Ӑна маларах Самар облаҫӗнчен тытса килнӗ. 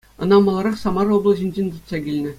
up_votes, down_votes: 2, 0